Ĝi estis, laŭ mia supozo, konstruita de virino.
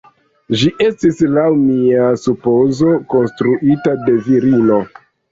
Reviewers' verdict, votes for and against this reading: rejected, 1, 2